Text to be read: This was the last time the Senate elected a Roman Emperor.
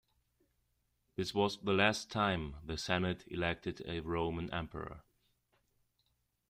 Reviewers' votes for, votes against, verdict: 2, 0, accepted